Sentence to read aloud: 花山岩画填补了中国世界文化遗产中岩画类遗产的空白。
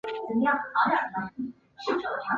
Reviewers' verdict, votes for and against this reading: rejected, 0, 2